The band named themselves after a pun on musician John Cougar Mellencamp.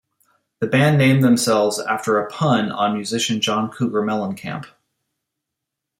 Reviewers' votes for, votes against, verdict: 2, 0, accepted